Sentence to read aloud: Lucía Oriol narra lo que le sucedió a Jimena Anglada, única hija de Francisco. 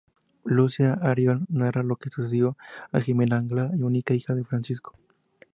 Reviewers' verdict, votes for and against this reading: rejected, 0, 2